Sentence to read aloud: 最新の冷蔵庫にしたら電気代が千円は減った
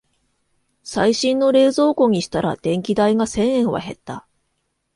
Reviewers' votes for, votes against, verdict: 0, 2, rejected